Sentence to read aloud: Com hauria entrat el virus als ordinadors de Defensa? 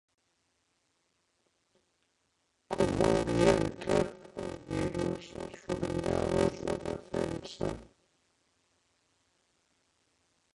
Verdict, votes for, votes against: rejected, 0, 2